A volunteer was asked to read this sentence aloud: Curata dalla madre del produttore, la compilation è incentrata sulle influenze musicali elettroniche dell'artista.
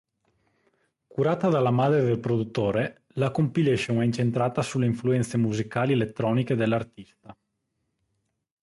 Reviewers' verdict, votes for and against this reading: accepted, 3, 0